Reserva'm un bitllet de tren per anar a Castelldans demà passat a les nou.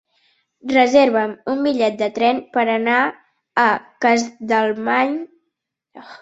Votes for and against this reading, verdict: 0, 2, rejected